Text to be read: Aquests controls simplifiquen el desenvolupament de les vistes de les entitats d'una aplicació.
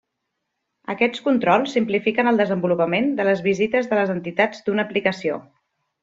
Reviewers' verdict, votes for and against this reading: rejected, 1, 2